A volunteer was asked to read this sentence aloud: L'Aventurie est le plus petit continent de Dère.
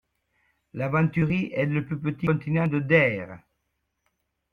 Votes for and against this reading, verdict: 0, 2, rejected